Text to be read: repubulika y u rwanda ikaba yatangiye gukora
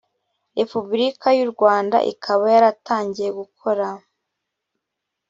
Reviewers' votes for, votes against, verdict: 0, 2, rejected